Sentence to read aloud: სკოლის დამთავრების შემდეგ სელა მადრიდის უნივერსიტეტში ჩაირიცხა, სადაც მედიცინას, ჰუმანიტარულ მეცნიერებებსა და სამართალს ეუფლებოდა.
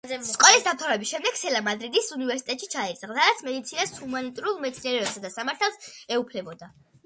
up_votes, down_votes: 2, 0